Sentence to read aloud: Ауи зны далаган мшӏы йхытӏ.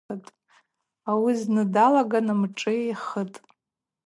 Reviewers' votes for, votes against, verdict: 4, 0, accepted